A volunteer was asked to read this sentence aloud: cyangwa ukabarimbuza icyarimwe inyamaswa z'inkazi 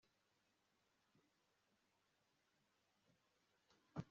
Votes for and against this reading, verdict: 0, 2, rejected